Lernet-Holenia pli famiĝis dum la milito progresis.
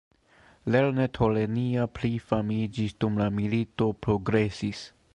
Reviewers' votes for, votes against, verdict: 2, 0, accepted